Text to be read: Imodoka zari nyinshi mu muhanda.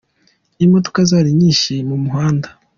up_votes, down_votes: 2, 0